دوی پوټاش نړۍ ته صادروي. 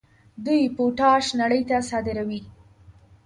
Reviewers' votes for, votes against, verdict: 2, 0, accepted